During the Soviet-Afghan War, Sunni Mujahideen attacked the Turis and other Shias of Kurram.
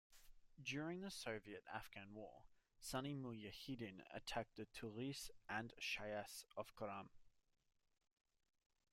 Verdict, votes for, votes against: rejected, 1, 2